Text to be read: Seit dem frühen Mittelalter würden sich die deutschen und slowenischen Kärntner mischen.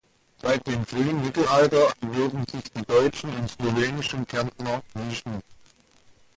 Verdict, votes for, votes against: rejected, 1, 2